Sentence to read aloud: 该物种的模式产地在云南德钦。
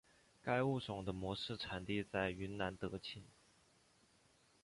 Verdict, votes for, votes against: rejected, 2, 2